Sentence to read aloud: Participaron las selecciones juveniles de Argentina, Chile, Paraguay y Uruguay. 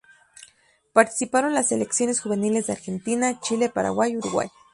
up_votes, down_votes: 2, 0